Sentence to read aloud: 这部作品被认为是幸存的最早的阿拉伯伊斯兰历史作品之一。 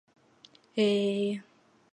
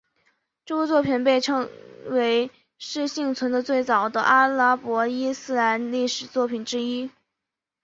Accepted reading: second